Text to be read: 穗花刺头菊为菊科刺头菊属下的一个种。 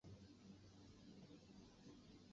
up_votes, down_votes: 2, 4